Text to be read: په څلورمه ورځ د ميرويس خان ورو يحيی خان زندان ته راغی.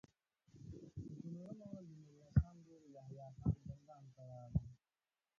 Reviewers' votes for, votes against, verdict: 1, 2, rejected